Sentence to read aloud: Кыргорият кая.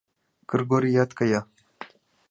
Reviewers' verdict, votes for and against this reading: accepted, 2, 0